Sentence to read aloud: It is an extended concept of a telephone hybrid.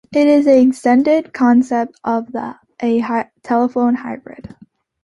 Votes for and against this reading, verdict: 1, 2, rejected